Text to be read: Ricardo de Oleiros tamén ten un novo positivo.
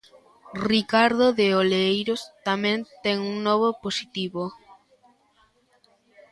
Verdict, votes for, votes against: accepted, 2, 0